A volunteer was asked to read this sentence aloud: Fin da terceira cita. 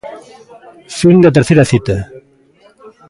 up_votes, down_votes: 2, 1